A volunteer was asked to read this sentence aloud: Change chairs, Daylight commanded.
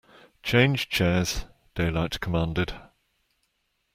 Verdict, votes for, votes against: accepted, 2, 0